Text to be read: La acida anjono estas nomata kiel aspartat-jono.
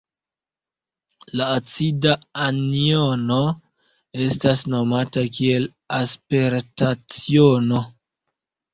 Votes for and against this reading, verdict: 0, 2, rejected